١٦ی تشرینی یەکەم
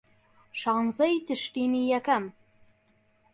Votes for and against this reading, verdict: 0, 2, rejected